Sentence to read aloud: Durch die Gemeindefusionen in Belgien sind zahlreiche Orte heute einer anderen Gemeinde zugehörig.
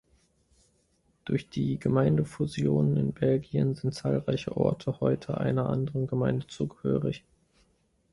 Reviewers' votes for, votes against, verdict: 2, 1, accepted